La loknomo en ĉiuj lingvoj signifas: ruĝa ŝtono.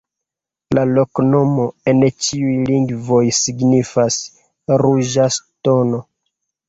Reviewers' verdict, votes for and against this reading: rejected, 0, 2